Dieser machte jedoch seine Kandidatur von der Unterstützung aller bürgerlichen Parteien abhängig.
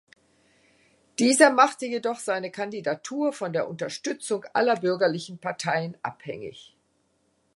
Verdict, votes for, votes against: accepted, 2, 0